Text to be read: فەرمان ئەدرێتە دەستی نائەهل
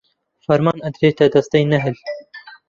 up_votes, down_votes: 0, 2